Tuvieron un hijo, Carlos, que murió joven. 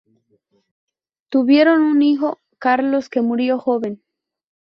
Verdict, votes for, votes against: rejected, 0, 2